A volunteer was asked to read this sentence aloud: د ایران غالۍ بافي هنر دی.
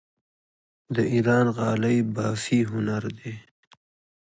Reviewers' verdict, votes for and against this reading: accepted, 2, 0